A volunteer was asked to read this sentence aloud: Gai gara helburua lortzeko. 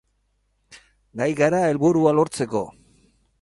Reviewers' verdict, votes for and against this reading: accepted, 8, 0